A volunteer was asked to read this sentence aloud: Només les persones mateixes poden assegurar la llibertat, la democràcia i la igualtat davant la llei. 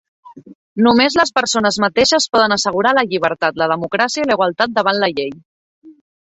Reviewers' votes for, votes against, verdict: 2, 0, accepted